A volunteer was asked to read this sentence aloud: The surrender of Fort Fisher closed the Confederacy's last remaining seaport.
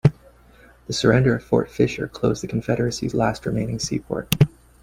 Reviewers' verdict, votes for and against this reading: accepted, 3, 2